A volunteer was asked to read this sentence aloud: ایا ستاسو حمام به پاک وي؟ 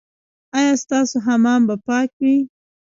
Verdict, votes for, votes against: accepted, 2, 0